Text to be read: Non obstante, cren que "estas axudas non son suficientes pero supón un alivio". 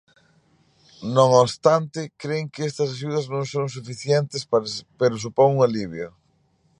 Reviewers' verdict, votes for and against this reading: rejected, 1, 2